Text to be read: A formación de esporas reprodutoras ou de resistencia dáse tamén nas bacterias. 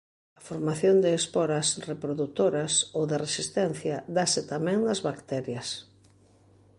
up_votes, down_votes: 3, 0